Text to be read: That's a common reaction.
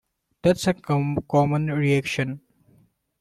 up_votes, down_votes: 0, 2